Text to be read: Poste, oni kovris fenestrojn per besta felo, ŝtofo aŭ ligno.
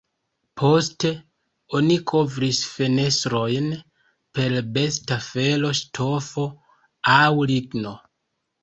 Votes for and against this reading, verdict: 0, 2, rejected